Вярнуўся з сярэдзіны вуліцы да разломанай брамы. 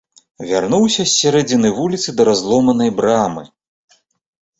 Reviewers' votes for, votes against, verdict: 2, 0, accepted